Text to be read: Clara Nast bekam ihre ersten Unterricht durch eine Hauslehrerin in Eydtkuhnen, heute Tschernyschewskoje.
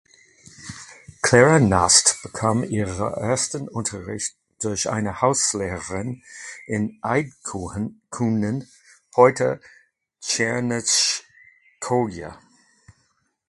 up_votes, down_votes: 0, 2